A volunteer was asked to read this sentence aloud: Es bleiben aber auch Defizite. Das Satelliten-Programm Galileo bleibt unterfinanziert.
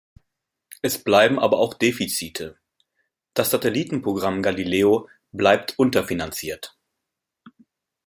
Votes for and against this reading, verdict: 2, 0, accepted